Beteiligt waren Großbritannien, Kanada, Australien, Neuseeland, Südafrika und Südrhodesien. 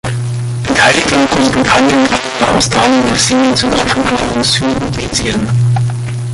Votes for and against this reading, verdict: 0, 2, rejected